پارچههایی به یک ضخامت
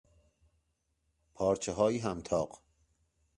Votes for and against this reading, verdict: 1, 2, rejected